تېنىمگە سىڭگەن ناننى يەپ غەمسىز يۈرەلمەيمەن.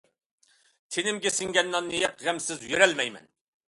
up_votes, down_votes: 2, 0